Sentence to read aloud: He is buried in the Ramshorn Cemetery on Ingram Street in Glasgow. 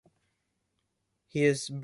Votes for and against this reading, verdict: 0, 2, rejected